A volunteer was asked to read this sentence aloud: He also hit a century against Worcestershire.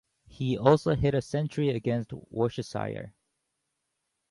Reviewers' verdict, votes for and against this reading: rejected, 0, 2